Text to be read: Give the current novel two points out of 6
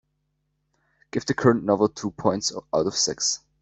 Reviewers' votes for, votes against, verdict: 0, 2, rejected